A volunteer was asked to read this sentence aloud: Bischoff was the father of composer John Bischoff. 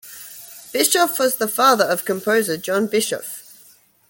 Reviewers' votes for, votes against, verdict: 2, 0, accepted